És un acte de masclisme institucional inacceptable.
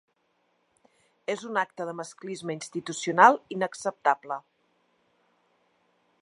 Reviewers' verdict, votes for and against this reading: accepted, 2, 0